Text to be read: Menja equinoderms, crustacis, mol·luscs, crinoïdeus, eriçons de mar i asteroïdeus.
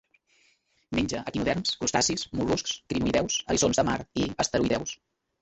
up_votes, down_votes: 0, 2